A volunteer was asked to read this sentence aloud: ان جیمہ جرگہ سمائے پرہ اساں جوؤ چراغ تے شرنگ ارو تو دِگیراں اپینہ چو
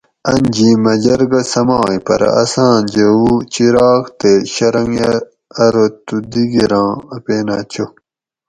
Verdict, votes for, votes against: rejected, 2, 2